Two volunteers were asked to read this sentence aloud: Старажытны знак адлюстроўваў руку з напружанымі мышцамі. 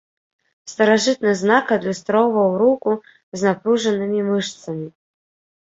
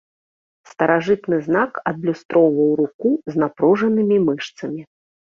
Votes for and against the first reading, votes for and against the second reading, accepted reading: 1, 2, 2, 0, second